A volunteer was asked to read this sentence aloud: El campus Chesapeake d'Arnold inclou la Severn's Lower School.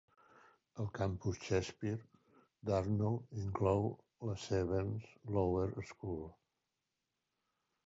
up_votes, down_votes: 0, 2